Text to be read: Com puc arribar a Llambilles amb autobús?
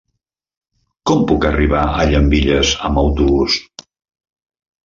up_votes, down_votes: 3, 0